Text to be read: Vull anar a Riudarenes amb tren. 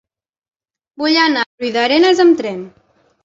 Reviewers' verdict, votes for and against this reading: rejected, 0, 2